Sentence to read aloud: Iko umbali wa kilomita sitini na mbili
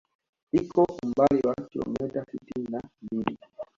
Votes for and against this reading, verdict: 1, 2, rejected